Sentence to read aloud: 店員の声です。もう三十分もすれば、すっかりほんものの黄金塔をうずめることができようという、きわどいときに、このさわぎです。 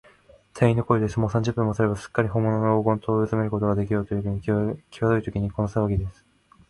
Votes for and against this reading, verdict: 0, 2, rejected